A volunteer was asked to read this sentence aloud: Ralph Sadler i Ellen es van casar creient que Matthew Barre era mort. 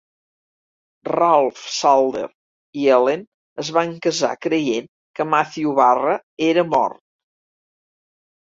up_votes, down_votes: 1, 2